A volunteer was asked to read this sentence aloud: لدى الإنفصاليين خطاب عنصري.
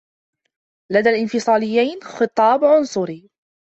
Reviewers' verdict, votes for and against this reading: rejected, 1, 2